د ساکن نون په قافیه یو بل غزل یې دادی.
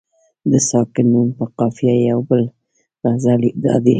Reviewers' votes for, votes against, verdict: 2, 1, accepted